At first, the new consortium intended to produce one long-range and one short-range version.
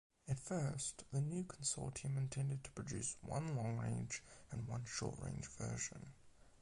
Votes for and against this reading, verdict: 8, 0, accepted